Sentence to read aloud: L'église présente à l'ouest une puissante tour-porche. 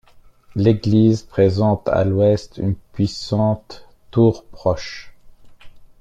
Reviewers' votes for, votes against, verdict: 0, 2, rejected